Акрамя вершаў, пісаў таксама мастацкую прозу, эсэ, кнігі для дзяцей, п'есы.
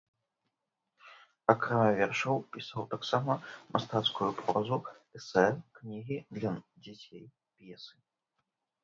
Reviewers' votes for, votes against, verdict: 0, 2, rejected